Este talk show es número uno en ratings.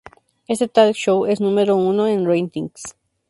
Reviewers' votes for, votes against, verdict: 2, 0, accepted